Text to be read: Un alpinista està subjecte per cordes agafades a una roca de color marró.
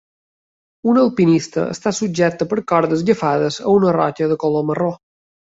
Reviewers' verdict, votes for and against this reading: accepted, 2, 0